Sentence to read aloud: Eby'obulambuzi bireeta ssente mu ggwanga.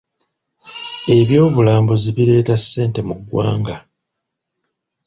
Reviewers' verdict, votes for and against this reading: accepted, 2, 0